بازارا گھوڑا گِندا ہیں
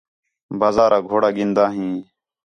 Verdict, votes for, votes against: accepted, 4, 0